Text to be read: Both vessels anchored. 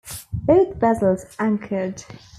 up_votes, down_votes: 2, 0